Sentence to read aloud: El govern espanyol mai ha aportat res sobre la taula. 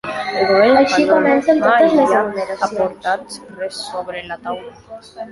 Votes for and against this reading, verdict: 0, 3, rejected